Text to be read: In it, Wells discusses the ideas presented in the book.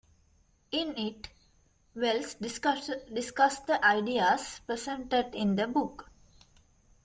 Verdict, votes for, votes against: rejected, 0, 2